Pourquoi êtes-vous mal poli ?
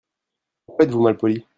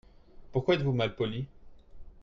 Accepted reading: second